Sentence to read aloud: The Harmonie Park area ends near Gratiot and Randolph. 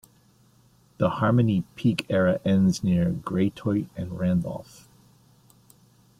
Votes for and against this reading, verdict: 0, 2, rejected